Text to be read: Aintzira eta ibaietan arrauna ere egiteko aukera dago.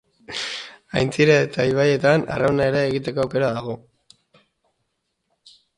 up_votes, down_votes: 1, 2